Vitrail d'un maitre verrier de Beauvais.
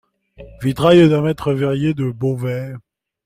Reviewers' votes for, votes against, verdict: 2, 0, accepted